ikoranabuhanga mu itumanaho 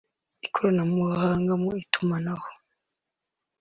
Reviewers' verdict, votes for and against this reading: rejected, 2, 3